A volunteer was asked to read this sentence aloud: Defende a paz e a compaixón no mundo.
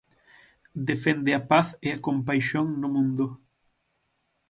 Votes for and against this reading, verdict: 9, 0, accepted